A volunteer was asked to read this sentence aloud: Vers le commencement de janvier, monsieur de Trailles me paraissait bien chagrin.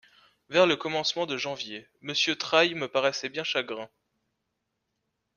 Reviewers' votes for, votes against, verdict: 1, 2, rejected